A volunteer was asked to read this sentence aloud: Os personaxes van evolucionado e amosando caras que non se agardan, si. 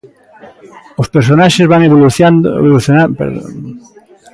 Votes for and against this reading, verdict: 0, 2, rejected